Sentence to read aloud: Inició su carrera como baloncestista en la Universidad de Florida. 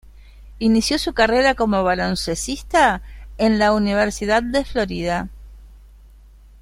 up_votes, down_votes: 1, 2